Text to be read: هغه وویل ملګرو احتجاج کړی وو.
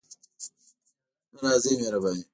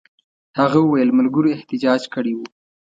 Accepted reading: second